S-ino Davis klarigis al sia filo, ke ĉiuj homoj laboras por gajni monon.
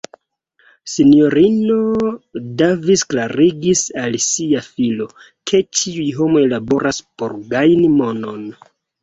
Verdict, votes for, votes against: accepted, 2, 0